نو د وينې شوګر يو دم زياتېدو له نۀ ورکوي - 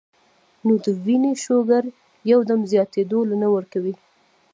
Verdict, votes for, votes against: accepted, 2, 0